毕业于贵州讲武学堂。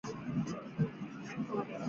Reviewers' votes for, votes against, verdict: 0, 2, rejected